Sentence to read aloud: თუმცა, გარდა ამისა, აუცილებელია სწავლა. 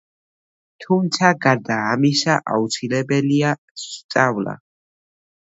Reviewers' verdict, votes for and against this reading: rejected, 1, 2